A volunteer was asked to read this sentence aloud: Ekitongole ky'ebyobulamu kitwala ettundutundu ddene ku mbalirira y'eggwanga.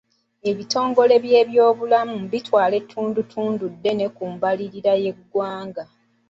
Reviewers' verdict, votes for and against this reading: rejected, 1, 2